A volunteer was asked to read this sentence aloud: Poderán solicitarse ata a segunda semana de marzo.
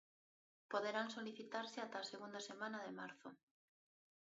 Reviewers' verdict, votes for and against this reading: rejected, 0, 2